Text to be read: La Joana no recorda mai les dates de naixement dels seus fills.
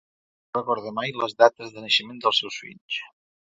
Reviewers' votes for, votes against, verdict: 0, 2, rejected